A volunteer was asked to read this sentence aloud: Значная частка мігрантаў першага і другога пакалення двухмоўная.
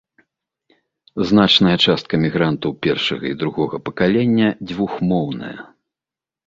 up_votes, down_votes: 2, 0